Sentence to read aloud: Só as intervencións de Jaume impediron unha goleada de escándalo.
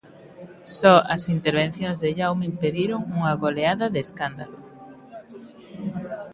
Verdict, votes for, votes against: accepted, 2, 0